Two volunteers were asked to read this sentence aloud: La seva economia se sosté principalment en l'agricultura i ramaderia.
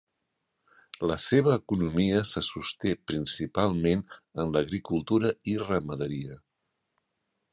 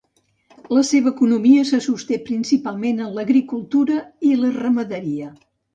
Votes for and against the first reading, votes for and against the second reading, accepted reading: 3, 0, 1, 2, first